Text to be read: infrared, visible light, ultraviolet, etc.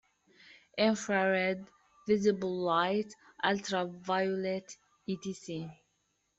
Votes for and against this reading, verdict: 0, 2, rejected